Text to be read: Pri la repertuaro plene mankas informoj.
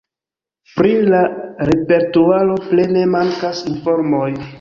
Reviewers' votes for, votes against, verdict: 2, 0, accepted